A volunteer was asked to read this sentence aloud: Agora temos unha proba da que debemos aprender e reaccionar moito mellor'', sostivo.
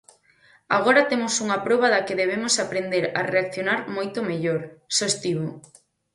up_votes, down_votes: 0, 4